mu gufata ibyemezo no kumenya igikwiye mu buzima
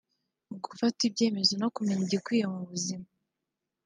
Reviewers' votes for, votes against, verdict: 2, 1, accepted